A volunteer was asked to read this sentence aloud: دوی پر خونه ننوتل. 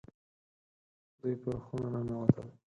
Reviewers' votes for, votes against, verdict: 2, 4, rejected